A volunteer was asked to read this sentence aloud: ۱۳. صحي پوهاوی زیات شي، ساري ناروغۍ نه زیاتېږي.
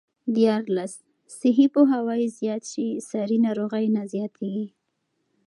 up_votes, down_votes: 0, 2